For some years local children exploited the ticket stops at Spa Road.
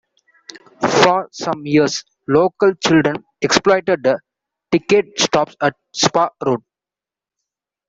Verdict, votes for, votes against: accepted, 2, 0